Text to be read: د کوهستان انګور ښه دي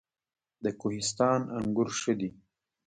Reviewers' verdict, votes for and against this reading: accepted, 2, 1